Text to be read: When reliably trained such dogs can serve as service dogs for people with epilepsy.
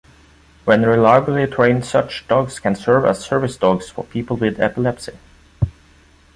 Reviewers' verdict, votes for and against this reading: accepted, 2, 0